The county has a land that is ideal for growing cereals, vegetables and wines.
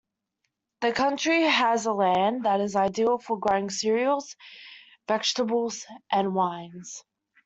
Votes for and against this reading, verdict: 0, 2, rejected